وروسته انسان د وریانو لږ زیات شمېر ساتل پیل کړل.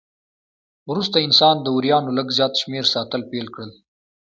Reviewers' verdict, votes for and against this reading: accepted, 2, 1